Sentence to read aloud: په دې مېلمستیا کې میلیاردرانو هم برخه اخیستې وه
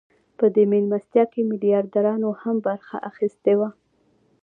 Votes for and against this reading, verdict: 2, 0, accepted